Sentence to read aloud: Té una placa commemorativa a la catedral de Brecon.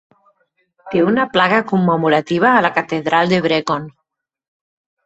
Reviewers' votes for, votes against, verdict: 0, 4, rejected